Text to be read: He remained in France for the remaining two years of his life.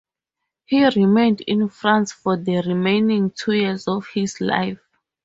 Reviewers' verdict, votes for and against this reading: accepted, 4, 0